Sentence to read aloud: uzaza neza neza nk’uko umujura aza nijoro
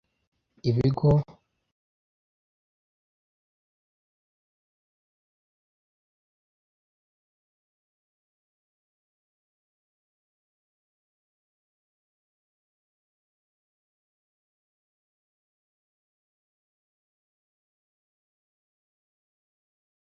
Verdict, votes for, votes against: rejected, 0, 2